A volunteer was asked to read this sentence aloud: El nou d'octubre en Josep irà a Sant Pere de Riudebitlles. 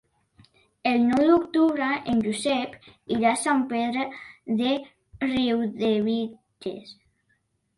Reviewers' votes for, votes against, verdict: 2, 1, accepted